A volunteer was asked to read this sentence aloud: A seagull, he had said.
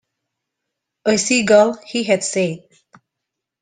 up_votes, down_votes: 2, 0